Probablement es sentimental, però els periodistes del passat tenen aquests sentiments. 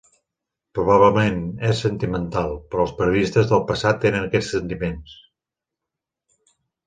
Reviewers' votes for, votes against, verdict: 2, 0, accepted